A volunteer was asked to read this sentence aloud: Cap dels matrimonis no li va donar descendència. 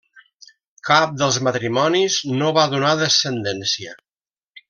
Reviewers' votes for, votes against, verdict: 0, 2, rejected